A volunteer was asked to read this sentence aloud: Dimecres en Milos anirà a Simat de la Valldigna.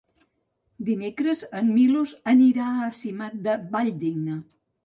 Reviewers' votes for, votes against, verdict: 0, 2, rejected